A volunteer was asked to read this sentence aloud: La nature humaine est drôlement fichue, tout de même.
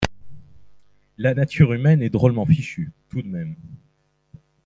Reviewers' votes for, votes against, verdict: 2, 1, accepted